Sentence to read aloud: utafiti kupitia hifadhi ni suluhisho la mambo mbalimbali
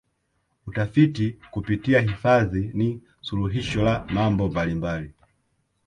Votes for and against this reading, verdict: 1, 2, rejected